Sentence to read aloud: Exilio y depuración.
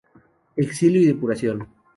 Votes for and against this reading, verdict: 6, 0, accepted